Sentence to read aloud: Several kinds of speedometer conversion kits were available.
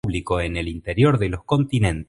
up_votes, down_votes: 1, 2